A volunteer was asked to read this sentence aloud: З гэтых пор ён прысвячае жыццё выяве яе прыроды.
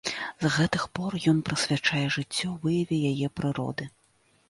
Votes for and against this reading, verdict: 0, 3, rejected